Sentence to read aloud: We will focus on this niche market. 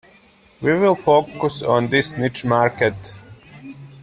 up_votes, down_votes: 2, 0